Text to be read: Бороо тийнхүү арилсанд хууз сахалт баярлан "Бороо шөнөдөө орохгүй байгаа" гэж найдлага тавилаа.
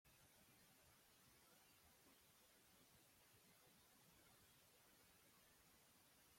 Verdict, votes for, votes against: rejected, 0, 2